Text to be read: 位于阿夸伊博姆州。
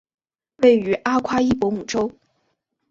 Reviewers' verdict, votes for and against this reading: accepted, 7, 2